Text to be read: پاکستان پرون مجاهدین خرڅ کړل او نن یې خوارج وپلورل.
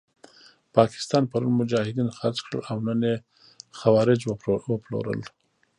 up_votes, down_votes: 1, 2